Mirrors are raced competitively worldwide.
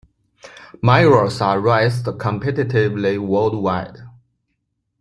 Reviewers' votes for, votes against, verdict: 1, 2, rejected